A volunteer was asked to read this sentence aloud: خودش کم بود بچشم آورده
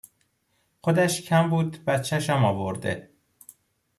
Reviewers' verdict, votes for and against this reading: accepted, 2, 0